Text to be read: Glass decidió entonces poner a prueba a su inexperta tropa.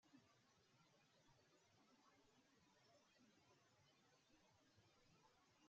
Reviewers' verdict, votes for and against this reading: rejected, 0, 2